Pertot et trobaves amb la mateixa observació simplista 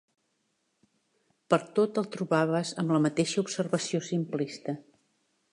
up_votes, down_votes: 2, 0